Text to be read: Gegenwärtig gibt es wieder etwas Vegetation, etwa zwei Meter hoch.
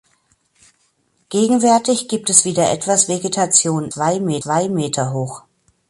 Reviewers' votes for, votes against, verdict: 0, 2, rejected